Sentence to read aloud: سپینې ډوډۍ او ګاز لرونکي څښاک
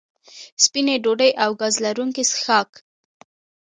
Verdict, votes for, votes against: accepted, 2, 0